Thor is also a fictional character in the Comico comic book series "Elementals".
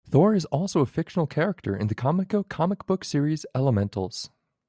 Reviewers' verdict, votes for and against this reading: rejected, 0, 2